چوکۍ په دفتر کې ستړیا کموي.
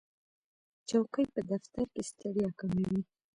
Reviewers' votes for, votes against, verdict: 2, 0, accepted